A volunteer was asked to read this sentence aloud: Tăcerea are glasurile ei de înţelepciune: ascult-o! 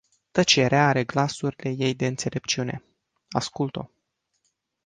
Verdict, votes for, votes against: accepted, 2, 1